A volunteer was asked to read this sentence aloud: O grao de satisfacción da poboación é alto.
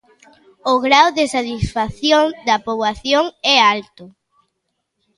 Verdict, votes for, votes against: rejected, 1, 2